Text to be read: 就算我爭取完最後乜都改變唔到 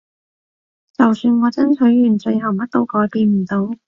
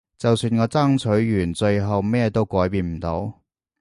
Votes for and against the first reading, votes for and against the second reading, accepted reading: 2, 0, 1, 2, first